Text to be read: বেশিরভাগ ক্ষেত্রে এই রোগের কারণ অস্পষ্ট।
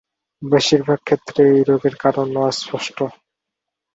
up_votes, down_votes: 4, 0